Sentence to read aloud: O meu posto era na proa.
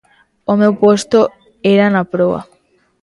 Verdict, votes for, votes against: accepted, 2, 0